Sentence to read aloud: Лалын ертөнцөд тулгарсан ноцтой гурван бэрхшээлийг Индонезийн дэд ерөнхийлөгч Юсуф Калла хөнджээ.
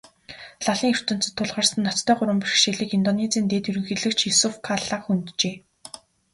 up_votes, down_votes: 3, 0